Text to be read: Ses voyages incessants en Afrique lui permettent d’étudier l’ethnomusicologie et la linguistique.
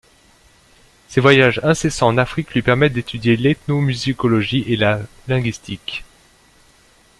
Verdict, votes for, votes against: rejected, 1, 2